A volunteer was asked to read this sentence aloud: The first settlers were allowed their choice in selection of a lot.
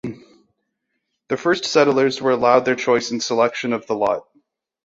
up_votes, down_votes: 1, 2